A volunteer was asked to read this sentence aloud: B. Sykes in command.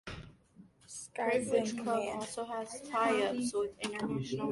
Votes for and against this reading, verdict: 1, 2, rejected